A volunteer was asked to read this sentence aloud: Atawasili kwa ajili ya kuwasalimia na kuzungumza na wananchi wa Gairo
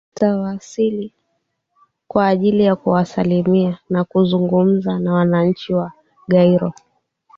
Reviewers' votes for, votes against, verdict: 3, 1, accepted